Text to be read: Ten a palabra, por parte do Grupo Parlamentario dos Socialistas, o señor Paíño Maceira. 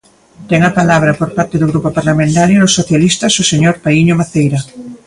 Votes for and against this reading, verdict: 2, 0, accepted